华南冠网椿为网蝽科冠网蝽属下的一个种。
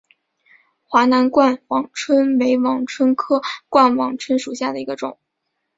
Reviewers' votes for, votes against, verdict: 2, 0, accepted